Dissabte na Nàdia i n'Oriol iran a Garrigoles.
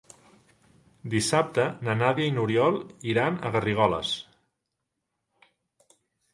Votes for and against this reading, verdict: 3, 1, accepted